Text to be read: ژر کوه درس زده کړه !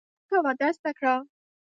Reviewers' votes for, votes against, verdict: 0, 2, rejected